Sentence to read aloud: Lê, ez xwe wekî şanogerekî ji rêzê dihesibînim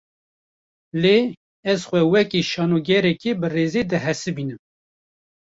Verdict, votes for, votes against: rejected, 1, 2